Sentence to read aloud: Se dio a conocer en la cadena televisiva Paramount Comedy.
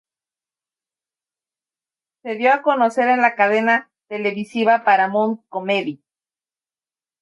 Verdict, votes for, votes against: accepted, 2, 0